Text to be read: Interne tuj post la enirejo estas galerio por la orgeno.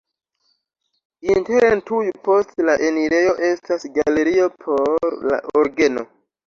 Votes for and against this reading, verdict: 2, 1, accepted